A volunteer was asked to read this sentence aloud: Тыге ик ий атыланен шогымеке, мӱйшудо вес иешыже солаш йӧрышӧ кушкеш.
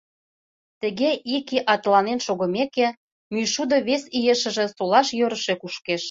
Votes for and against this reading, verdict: 2, 0, accepted